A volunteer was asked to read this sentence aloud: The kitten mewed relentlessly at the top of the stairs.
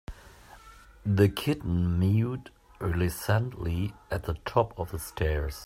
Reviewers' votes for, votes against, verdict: 0, 2, rejected